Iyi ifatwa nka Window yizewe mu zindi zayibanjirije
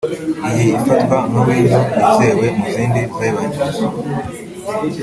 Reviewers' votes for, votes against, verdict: 1, 2, rejected